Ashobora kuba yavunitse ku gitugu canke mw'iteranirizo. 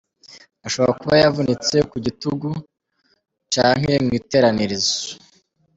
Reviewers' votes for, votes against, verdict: 1, 2, rejected